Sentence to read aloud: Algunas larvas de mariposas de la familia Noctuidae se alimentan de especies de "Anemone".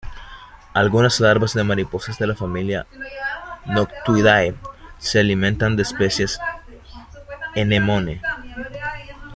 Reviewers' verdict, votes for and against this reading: rejected, 1, 2